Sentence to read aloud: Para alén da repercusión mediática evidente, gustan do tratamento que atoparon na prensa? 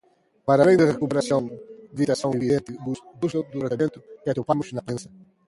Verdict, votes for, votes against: rejected, 0, 2